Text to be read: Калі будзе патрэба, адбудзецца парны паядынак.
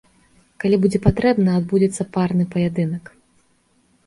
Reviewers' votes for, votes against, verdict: 2, 1, accepted